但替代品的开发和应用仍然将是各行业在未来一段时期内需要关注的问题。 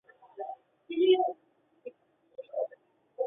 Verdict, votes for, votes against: rejected, 1, 2